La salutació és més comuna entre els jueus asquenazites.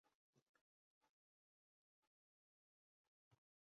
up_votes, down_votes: 0, 2